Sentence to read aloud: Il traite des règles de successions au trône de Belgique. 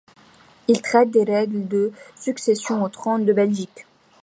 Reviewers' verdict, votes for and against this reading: accepted, 2, 0